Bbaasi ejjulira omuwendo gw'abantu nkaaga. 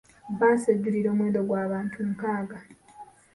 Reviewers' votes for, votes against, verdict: 2, 0, accepted